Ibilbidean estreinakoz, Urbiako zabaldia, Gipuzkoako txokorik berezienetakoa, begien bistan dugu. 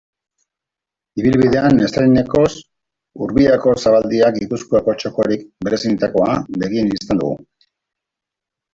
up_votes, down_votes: 2, 1